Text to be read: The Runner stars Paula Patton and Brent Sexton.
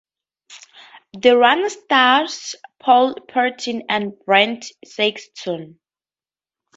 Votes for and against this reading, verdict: 0, 2, rejected